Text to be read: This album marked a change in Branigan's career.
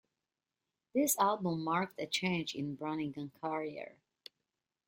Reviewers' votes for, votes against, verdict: 2, 0, accepted